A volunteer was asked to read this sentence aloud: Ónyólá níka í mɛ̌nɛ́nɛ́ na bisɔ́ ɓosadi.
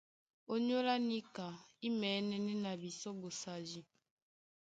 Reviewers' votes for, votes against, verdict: 2, 0, accepted